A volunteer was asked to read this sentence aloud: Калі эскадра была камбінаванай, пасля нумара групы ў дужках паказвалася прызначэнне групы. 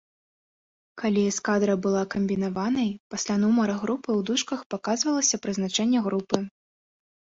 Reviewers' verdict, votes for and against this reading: accepted, 2, 0